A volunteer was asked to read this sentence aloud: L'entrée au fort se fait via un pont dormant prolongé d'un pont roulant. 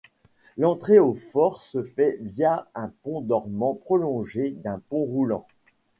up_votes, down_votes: 2, 0